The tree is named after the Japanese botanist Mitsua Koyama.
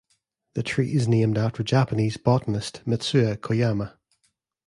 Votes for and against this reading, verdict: 1, 2, rejected